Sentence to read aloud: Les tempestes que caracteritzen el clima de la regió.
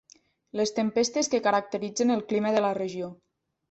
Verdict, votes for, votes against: accepted, 3, 1